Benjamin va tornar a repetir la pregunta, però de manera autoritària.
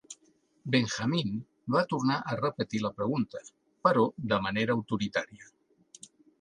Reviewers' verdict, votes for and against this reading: accepted, 2, 0